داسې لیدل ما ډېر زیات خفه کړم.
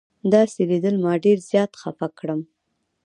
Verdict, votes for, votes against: rejected, 1, 2